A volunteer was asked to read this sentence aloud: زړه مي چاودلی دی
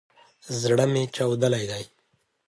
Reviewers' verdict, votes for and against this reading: accepted, 2, 0